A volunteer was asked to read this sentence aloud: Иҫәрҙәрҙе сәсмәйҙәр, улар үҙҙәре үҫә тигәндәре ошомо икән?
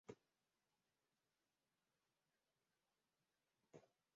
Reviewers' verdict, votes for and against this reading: rejected, 0, 2